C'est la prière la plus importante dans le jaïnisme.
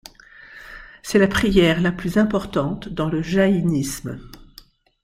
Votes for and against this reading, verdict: 2, 0, accepted